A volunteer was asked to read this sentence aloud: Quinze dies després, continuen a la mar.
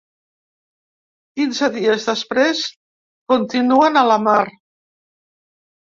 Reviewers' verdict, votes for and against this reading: rejected, 1, 2